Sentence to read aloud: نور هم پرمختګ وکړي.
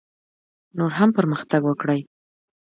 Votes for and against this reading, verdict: 2, 0, accepted